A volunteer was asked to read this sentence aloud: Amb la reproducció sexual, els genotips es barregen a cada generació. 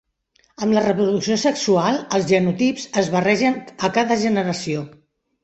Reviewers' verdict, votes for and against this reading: rejected, 0, 2